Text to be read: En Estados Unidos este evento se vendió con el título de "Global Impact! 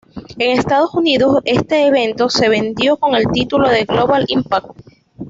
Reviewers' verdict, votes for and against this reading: accepted, 2, 0